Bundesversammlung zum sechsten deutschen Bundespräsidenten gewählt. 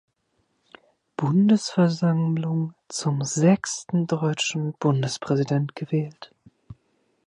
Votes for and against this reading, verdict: 0, 2, rejected